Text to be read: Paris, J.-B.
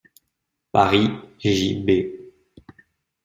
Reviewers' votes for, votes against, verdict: 2, 0, accepted